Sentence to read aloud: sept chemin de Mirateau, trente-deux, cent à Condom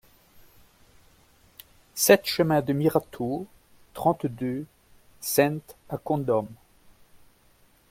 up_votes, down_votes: 0, 2